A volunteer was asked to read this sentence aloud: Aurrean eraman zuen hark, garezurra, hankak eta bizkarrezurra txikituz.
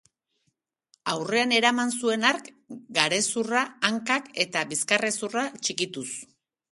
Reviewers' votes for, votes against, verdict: 2, 0, accepted